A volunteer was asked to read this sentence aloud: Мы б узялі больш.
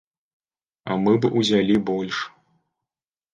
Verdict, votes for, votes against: rejected, 1, 2